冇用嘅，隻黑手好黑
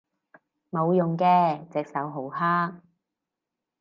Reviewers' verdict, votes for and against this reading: rejected, 0, 4